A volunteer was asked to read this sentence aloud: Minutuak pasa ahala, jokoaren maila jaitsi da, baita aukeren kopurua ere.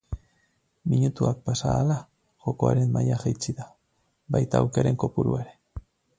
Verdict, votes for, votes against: rejected, 2, 2